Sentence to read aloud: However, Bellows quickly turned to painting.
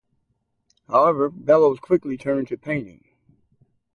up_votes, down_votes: 4, 0